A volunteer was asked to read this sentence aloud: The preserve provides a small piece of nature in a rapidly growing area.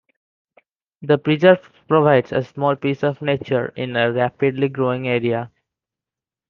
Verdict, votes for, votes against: accepted, 2, 0